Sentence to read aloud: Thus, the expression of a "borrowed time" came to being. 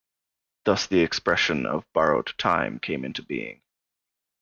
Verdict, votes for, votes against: rejected, 1, 2